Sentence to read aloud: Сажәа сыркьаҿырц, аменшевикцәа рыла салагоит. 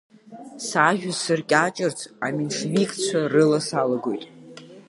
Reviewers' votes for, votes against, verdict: 2, 1, accepted